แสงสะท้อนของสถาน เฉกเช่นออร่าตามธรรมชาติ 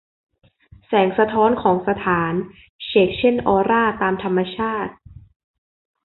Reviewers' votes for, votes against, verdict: 2, 0, accepted